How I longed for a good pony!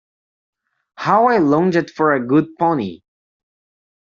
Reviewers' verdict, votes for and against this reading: rejected, 1, 2